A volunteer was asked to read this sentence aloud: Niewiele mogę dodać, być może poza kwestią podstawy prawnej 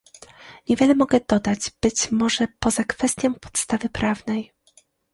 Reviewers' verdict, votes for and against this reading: accepted, 2, 0